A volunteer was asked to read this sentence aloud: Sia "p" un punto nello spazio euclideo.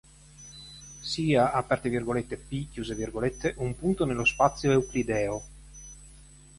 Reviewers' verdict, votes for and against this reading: rejected, 0, 2